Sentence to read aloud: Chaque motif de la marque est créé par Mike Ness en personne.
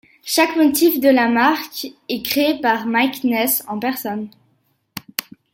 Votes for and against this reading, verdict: 0, 2, rejected